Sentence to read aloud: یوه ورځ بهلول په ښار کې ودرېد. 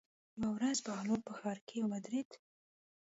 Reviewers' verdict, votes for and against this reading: accepted, 2, 0